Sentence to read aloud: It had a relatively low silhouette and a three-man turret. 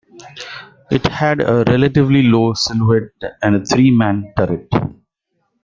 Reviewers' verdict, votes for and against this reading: rejected, 1, 2